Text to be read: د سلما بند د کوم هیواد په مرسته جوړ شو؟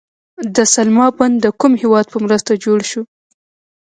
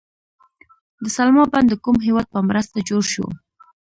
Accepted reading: second